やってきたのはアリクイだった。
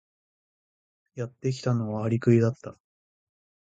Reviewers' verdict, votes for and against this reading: accepted, 3, 0